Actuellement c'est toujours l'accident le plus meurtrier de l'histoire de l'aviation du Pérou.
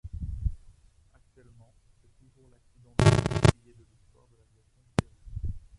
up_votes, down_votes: 0, 2